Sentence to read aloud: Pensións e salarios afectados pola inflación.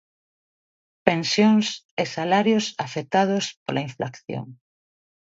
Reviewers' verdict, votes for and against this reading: rejected, 1, 2